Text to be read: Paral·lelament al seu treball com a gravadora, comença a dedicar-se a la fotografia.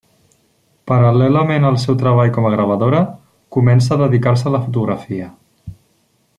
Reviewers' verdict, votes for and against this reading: accepted, 3, 0